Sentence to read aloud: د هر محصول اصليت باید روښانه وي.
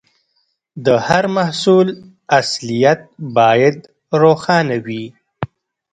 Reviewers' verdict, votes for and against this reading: rejected, 0, 2